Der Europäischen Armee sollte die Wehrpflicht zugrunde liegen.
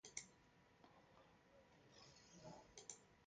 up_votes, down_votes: 0, 3